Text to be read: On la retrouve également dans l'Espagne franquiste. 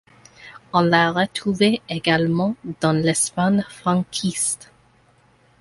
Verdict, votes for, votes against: rejected, 1, 2